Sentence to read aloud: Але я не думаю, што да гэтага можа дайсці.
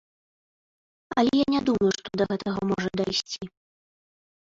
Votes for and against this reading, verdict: 1, 2, rejected